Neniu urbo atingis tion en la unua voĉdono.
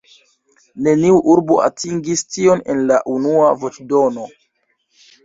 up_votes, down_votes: 0, 2